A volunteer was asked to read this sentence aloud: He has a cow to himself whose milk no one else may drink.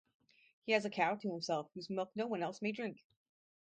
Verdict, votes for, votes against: accepted, 2, 0